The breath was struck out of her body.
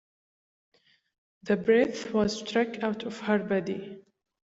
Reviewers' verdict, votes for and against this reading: accepted, 2, 0